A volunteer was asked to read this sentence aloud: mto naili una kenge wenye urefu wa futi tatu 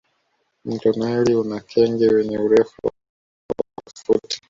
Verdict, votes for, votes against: rejected, 0, 2